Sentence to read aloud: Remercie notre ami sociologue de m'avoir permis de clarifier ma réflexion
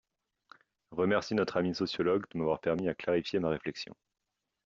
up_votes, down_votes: 1, 2